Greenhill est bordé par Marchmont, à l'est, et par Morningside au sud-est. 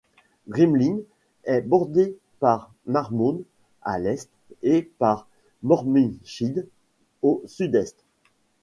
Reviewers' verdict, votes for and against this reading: accepted, 2, 0